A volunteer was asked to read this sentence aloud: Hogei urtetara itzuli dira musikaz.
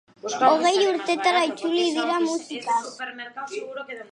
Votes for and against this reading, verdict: 2, 1, accepted